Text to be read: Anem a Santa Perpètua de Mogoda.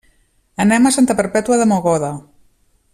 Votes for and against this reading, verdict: 3, 0, accepted